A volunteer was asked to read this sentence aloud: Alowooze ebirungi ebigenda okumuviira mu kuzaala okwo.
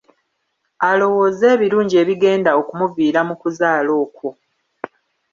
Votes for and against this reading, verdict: 2, 0, accepted